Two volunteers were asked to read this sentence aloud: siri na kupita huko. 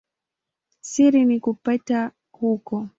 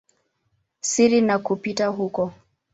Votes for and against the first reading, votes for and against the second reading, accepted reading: 0, 2, 2, 0, second